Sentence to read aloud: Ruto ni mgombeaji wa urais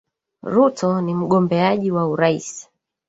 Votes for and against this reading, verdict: 1, 2, rejected